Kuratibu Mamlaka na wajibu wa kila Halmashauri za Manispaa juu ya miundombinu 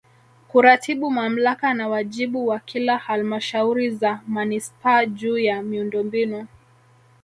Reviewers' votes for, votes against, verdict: 2, 1, accepted